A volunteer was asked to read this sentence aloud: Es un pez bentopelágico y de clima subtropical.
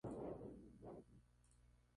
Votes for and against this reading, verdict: 0, 4, rejected